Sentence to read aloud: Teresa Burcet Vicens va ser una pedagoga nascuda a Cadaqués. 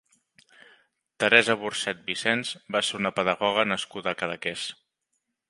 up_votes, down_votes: 1, 2